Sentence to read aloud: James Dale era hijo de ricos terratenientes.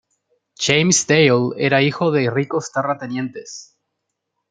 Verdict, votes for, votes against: accepted, 2, 1